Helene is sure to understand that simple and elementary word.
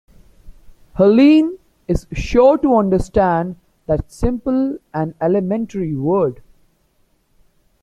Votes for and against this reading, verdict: 2, 1, accepted